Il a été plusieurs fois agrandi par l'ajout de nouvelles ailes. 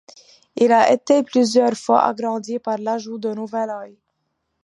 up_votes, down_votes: 2, 1